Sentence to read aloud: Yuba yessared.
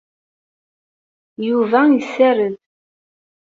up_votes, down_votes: 2, 0